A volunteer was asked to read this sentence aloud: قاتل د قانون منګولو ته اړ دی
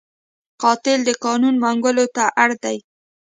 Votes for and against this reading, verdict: 2, 0, accepted